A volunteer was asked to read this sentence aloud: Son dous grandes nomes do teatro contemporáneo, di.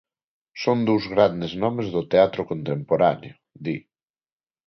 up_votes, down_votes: 2, 0